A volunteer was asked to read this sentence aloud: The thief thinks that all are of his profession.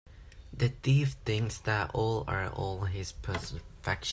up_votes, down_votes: 1, 2